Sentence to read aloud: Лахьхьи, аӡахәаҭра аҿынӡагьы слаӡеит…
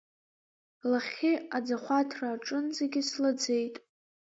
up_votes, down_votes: 3, 1